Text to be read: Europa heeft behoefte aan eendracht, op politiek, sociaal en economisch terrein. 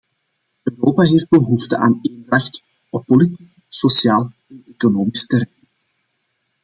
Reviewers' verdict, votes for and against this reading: rejected, 0, 2